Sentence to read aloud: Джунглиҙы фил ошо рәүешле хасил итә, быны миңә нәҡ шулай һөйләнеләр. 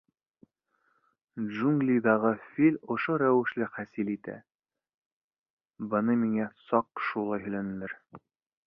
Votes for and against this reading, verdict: 1, 2, rejected